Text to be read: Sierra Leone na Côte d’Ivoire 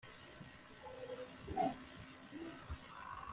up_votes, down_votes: 0, 2